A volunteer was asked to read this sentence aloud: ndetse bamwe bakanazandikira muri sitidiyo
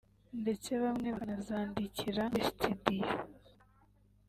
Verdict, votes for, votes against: rejected, 1, 2